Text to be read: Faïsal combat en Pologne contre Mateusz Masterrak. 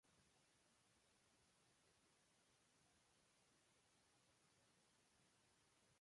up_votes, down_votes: 0, 2